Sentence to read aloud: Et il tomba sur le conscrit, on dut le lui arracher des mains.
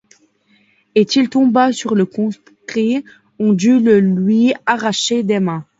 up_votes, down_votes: 0, 2